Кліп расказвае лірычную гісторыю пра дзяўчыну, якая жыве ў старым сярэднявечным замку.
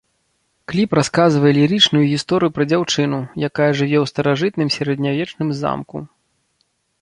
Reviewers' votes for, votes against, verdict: 0, 2, rejected